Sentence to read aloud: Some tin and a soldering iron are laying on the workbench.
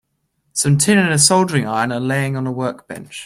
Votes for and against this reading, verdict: 2, 1, accepted